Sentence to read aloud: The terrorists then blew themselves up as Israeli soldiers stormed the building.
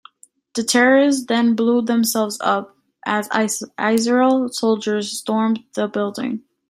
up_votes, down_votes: 1, 2